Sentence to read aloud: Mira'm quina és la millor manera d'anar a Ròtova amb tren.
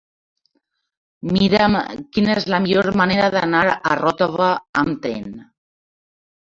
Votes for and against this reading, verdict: 1, 2, rejected